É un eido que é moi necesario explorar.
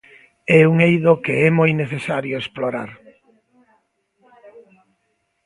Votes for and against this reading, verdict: 1, 2, rejected